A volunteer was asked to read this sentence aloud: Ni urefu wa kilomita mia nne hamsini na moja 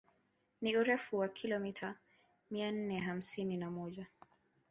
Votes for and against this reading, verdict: 2, 0, accepted